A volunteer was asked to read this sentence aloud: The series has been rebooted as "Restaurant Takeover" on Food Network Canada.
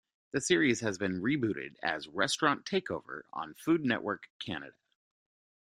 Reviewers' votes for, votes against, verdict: 2, 0, accepted